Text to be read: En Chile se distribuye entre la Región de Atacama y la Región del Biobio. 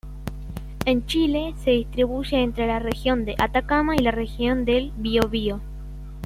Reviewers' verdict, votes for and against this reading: accepted, 2, 0